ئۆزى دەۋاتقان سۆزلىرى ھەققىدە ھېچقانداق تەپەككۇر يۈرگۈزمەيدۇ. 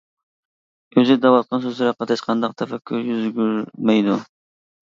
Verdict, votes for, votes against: rejected, 0, 2